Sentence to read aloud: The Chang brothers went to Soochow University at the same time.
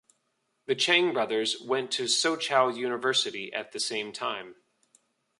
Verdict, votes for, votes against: accepted, 2, 0